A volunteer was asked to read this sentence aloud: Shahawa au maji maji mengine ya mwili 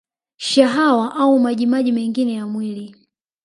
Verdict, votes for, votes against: rejected, 1, 2